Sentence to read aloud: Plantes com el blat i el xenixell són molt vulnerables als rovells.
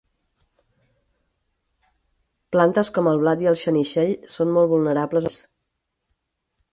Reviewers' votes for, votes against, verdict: 0, 4, rejected